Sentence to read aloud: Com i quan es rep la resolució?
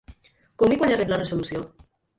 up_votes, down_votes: 1, 3